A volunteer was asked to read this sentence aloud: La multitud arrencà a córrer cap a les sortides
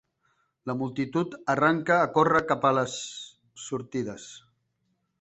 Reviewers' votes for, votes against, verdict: 0, 2, rejected